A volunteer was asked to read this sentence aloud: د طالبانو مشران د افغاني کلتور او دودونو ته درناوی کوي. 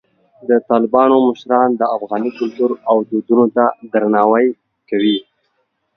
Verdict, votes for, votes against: accepted, 2, 0